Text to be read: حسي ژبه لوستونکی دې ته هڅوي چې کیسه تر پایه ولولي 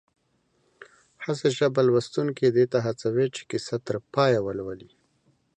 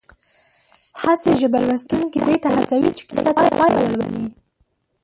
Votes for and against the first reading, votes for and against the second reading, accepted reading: 2, 0, 0, 2, first